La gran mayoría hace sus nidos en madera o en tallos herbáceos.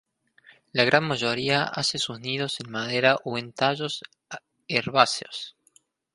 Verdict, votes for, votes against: rejected, 0, 2